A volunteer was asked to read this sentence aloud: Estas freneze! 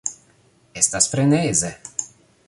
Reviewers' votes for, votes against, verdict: 3, 0, accepted